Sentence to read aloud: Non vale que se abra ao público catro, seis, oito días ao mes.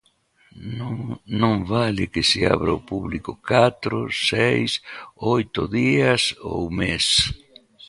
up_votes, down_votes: 1, 2